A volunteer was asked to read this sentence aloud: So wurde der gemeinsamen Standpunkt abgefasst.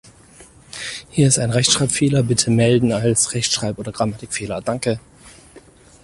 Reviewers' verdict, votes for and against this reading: rejected, 0, 4